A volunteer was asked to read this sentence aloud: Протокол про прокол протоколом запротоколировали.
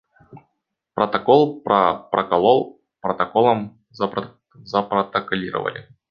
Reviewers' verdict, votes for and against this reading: rejected, 0, 2